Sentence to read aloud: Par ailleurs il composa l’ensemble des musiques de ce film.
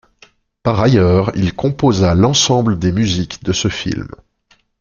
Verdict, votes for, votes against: accepted, 2, 0